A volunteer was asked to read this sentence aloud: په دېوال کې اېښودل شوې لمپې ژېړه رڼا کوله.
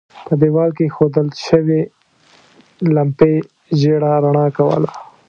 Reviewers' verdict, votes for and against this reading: rejected, 0, 2